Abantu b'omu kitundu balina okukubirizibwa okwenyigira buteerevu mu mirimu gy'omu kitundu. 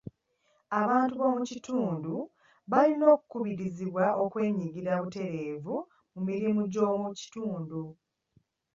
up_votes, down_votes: 1, 2